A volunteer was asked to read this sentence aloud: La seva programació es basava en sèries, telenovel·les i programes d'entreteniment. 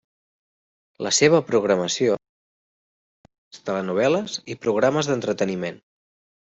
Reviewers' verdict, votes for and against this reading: rejected, 0, 2